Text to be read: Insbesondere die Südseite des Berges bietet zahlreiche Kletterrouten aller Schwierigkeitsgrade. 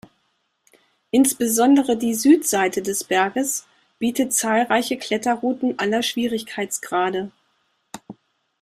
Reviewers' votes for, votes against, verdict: 2, 0, accepted